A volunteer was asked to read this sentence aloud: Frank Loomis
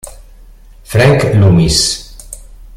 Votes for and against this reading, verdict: 2, 0, accepted